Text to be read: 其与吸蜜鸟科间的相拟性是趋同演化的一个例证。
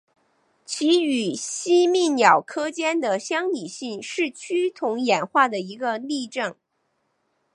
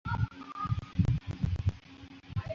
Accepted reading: first